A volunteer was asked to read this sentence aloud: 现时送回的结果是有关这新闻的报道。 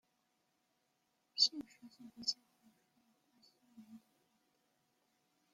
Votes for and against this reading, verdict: 0, 2, rejected